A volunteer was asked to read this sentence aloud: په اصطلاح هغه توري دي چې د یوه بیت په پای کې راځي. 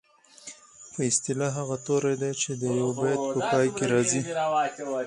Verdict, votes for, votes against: rejected, 2, 4